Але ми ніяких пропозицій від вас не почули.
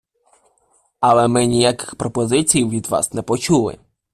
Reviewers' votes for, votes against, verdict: 2, 0, accepted